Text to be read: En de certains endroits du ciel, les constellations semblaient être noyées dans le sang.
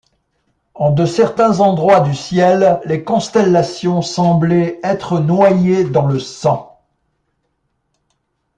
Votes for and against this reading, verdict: 2, 0, accepted